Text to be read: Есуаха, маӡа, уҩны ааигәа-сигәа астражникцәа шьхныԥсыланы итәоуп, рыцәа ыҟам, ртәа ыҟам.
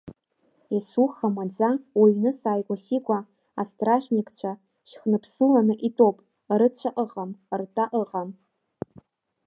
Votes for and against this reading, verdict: 0, 2, rejected